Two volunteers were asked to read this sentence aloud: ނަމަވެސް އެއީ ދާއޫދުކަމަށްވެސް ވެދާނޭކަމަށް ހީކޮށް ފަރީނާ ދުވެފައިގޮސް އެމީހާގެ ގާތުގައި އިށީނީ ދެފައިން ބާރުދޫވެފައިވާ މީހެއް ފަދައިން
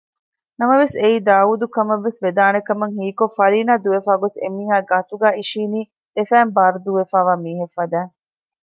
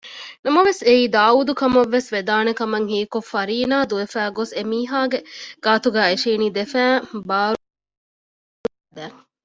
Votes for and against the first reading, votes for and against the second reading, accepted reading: 2, 0, 0, 2, first